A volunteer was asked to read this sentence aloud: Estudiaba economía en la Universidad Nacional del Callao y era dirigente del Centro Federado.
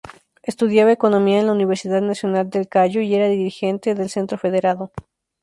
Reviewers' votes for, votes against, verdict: 0, 2, rejected